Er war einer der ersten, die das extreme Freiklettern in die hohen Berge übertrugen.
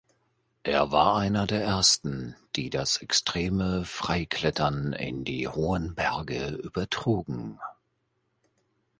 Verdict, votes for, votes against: accepted, 2, 0